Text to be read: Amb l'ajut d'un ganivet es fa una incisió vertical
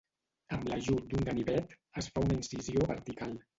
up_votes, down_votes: 2, 2